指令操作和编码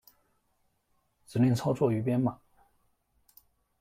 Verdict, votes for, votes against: rejected, 0, 3